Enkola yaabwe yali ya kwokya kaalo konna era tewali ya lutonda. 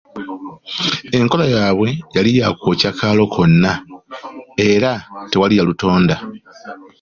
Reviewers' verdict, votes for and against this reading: accepted, 2, 0